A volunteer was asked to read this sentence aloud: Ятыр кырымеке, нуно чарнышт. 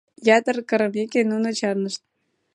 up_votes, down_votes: 2, 0